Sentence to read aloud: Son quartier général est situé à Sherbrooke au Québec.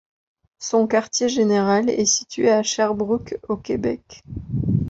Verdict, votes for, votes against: accepted, 2, 1